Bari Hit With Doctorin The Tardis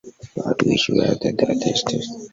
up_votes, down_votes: 0, 3